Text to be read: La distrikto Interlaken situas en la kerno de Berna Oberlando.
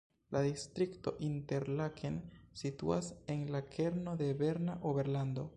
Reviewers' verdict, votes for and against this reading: rejected, 1, 2